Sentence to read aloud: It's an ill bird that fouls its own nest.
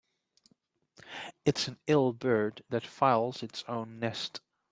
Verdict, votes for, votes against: rejected, 0, 2